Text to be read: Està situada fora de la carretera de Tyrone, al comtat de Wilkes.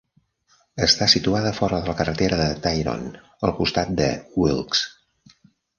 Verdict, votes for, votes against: rejected, 0, 2